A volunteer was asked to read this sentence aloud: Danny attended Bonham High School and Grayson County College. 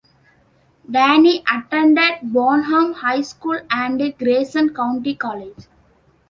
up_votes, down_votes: 2, 1